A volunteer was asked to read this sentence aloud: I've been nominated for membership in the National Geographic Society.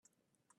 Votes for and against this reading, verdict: 0, 2, rejected